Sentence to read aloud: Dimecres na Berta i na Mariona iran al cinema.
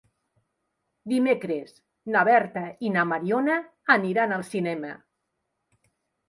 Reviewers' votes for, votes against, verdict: 2, 1, accepted